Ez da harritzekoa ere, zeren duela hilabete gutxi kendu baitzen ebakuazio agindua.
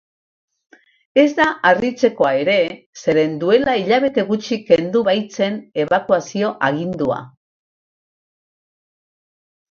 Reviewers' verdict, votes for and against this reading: accepted, 2, 0